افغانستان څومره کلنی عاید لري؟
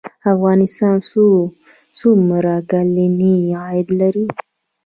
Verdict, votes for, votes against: accepted, 2, 1